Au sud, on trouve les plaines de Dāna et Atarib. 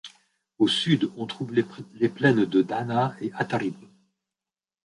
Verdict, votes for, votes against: rejected, 0, 2